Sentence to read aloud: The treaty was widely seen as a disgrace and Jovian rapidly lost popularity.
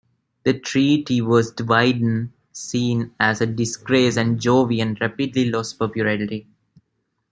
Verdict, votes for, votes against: rejected, 1, 2